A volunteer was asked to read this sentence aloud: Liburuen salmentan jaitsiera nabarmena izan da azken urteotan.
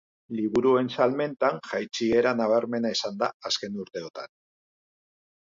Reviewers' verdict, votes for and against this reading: accepted, 2, 0